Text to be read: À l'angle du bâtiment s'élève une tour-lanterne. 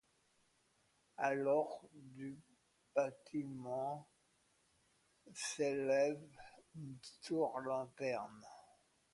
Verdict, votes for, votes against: rejected, 0, 2